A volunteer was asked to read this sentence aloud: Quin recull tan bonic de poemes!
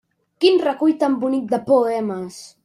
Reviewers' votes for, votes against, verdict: 0, 2, rejected